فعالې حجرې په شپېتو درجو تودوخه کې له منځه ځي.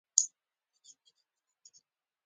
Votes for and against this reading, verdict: 0, 2, rejected